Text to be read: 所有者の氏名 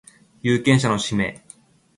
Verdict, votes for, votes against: rejected, 0, 2